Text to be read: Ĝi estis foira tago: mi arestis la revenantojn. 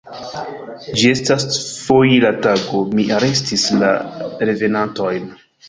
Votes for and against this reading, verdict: 2, 1, accepted